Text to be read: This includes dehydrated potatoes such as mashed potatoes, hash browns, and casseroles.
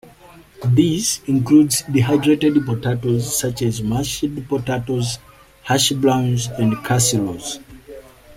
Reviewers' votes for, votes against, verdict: 2, 1, accepted